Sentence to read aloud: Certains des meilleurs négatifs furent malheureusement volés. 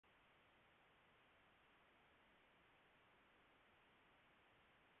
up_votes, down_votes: 0, 2